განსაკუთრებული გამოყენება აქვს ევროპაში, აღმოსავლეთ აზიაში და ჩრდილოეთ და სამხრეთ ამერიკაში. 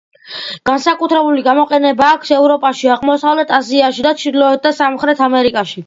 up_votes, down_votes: 2, 1